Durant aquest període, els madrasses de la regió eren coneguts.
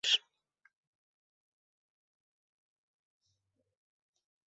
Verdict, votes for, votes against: rejected, 0, 2